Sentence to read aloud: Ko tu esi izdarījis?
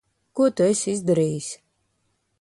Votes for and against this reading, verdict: 2, 0, accepted